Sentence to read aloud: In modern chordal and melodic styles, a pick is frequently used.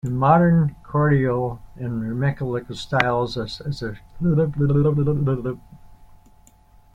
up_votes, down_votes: 0, 3